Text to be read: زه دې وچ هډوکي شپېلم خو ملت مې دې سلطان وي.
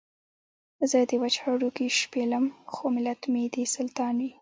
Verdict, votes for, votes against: rejected, 0, 2